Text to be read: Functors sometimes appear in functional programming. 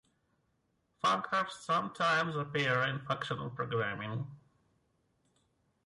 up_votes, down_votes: 1, 2